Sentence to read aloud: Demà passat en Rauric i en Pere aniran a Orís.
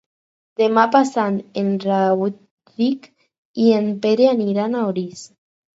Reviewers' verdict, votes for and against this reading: rejected, 2, 4